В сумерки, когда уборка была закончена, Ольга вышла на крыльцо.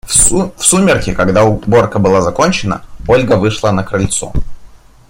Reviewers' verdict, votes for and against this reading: rejected, 1, 2